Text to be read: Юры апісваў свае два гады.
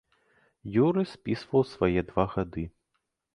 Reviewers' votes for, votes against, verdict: 0, 2, rejected